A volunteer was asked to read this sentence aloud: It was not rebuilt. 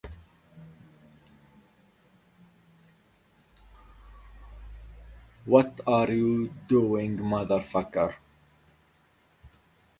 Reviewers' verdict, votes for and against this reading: rejected, 0, 4